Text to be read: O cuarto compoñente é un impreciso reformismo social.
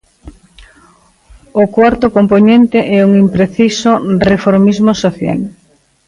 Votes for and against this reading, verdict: 0, 2, rejected